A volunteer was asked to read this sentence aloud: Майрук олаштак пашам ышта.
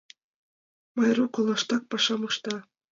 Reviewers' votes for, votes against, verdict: 2, 0, accepted